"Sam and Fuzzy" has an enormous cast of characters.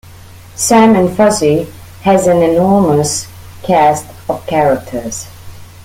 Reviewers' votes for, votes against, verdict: 2, 0, accepted